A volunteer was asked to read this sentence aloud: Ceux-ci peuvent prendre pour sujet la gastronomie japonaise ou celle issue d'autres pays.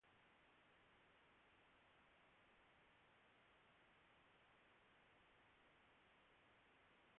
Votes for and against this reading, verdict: 0, 2, rejected